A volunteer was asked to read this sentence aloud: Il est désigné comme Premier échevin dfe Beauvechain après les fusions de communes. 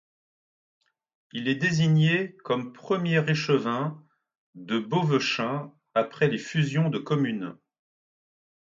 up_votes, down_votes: 2, 0